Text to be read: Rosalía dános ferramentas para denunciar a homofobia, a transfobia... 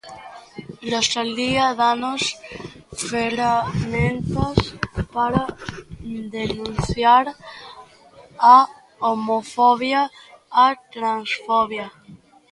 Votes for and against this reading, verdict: 1, 2, rejected